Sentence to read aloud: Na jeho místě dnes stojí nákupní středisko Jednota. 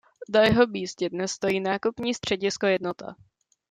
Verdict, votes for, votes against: rejected, 1, 2